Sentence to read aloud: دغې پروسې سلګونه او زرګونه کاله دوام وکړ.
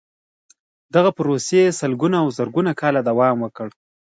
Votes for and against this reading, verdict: 2, 0, accepted